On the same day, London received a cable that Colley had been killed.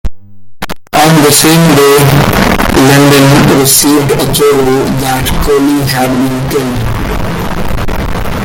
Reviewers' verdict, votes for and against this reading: rejected, 0, 2